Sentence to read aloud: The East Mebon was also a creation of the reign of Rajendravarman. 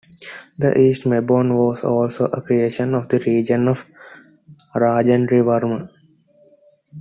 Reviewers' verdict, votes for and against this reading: rejected, 1, 2